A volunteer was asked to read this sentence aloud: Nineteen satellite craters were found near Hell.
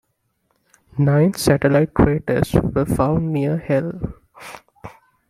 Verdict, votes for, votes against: rejected, 0, 2